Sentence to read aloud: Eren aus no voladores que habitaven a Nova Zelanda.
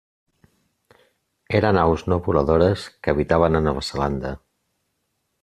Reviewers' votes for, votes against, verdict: 2, 0, accepted